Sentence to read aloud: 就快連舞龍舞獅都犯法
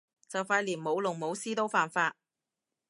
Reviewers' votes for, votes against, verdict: 2, 0, accepted